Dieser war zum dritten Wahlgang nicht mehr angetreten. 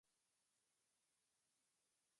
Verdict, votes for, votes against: rejected, 0, 2